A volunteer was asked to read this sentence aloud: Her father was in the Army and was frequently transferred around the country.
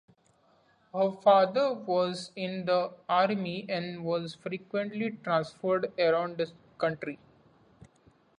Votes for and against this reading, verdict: 3, 0, accepted